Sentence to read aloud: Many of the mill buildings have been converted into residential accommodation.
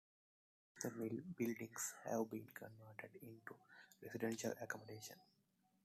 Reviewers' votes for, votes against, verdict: 0, 2, rejected